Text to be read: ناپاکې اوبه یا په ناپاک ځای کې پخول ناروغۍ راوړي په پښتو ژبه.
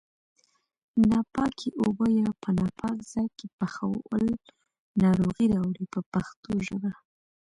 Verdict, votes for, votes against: accepted, 2, 1